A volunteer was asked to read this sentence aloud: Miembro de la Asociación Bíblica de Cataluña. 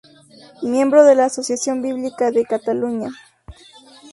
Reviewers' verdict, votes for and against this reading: accepted, 4, 0